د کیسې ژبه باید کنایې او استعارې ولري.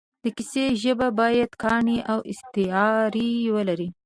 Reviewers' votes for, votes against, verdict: 1, 2, rejected